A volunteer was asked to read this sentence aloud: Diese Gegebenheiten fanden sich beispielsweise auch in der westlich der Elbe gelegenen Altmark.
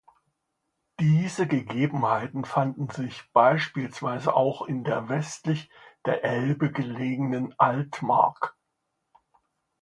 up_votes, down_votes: 2, 0